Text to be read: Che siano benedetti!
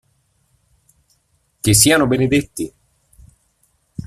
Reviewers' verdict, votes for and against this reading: accepted, 2, 0